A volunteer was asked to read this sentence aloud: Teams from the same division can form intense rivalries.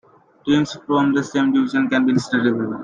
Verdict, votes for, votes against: rejected, 0, 2